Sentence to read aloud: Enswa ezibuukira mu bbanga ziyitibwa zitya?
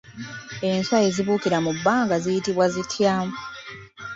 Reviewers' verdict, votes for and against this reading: accepted, 2, 0